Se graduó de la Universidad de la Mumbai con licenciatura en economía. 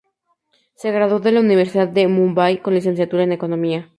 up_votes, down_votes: 2, 2